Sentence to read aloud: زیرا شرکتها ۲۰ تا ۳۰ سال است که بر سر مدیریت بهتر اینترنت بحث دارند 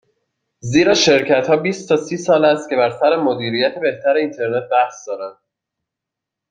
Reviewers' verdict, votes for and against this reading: rejected, 0, 2